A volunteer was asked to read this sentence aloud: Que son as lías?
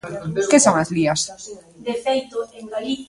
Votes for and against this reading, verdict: 0, 2, rejected